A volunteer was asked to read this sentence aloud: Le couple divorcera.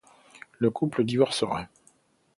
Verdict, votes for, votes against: accepted, 2, 0